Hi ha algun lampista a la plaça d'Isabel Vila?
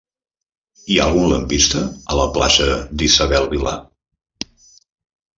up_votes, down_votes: 0, 2